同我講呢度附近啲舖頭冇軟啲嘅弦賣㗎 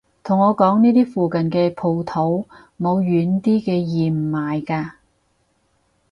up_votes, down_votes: 2, 4